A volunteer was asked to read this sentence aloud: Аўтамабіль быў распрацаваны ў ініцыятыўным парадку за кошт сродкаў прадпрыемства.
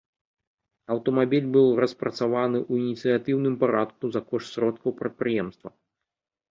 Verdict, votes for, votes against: accepted, 2, 0